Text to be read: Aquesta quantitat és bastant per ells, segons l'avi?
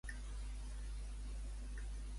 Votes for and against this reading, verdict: 0, 2, rejected